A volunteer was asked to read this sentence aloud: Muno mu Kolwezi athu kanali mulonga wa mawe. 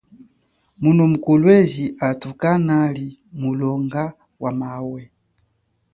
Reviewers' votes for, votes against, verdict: 2, 0, accepted